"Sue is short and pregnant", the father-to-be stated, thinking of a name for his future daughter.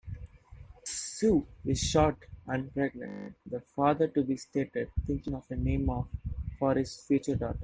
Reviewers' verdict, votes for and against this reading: rejected, 0, 2